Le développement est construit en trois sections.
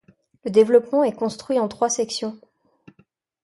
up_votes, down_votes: 2, 0